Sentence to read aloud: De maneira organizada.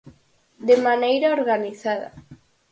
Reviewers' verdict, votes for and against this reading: accepted, 4, 0